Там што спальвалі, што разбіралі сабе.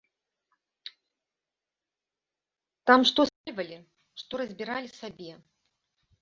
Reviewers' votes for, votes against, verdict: 1, 2, rejected